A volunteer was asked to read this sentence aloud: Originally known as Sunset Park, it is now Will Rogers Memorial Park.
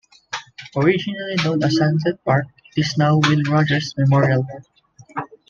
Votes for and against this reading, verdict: 0, 2, rejected